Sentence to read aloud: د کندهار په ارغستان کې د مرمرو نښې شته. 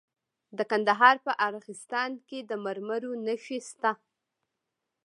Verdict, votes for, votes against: rejected, 0, 2